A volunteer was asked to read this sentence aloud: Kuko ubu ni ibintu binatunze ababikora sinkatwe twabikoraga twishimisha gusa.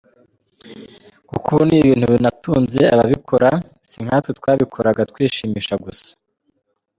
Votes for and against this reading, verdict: 2, 1, accepted